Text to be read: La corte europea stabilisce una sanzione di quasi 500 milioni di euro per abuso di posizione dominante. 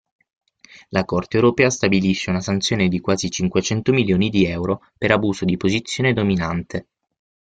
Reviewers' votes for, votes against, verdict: 0, 2, rejected